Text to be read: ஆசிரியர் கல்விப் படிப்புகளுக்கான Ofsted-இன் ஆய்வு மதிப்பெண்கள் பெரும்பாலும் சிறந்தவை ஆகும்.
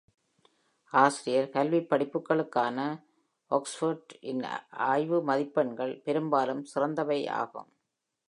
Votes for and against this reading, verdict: 0, 2, rejected